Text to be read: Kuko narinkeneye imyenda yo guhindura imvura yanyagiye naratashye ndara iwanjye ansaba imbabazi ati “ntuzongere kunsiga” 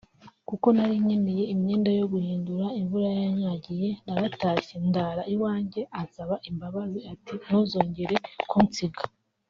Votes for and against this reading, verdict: 1, 2, rejected